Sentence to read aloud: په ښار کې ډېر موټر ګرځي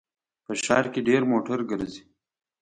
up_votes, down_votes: 2, 0